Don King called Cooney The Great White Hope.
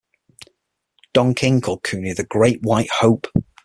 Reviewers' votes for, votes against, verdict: 6, 0, accepted